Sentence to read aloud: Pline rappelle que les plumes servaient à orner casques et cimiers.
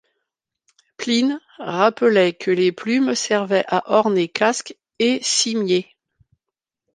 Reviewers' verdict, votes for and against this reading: rejected, 1, 2